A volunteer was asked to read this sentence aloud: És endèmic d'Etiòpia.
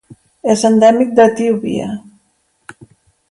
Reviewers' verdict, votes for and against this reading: rejected, 1, 2